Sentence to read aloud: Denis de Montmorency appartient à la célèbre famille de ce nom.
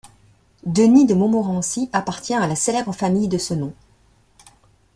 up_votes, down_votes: 2, 0